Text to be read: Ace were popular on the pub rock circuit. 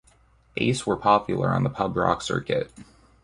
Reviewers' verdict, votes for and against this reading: accepted, 2, 0